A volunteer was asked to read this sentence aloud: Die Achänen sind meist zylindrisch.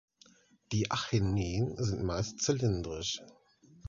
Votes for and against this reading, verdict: 2, 0, accepted